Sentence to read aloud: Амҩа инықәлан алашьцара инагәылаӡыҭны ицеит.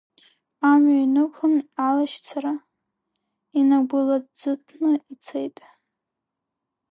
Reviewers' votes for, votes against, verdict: 0, 2, rejected